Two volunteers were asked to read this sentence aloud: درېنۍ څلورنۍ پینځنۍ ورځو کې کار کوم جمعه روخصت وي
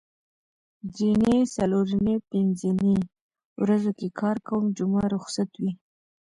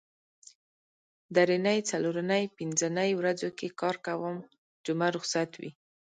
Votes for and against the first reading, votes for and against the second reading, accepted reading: 1, 2, 2, 0, second